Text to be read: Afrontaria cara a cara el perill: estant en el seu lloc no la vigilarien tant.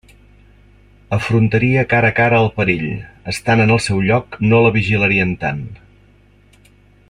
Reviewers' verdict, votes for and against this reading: accepted, 2, 0